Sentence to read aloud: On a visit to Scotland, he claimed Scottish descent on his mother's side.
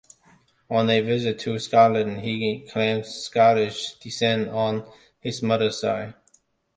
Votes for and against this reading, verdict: 2, 0, accepted